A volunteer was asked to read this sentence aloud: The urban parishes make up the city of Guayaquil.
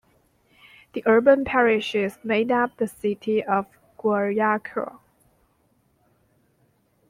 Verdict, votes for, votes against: rejected, 0, 2